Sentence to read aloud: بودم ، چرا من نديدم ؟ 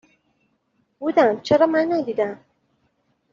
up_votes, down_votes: 2, 0